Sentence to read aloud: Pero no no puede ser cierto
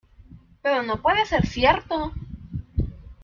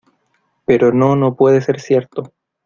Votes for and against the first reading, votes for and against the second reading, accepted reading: 1, 2, 2, 0, second